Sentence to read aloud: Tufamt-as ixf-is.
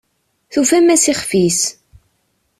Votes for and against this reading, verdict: 0, 2, rejected